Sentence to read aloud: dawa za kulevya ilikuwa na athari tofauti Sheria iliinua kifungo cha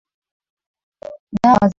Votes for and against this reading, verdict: 0, 2, rejected